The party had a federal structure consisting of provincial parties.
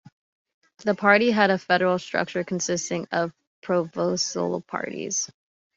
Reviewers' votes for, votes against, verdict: 0, 2, rejected